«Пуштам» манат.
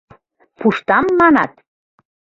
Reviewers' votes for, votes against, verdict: 2, 0, accepted